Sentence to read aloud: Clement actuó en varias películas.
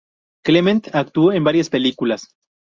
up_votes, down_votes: 2, 0